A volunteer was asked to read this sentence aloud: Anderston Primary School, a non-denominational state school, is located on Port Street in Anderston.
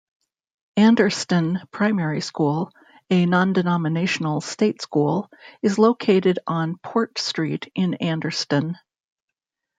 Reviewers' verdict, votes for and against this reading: accepted, 2, 0